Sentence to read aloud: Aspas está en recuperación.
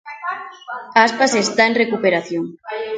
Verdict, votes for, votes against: rejected, 0, 2